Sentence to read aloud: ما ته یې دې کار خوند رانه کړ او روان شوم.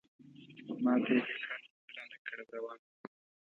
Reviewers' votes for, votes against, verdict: 0, 2, rejected